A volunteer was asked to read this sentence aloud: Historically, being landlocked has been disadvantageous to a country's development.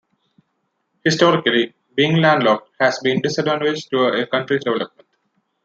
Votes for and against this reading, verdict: 0, 2, rejected